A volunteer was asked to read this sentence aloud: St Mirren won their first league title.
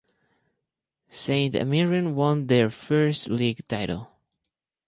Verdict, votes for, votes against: rejected, 2, 2